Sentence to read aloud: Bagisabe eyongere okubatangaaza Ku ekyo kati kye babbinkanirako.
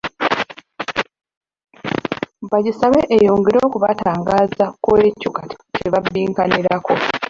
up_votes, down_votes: 1, 2